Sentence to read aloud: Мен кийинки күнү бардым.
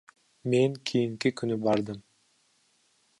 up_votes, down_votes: 2, 0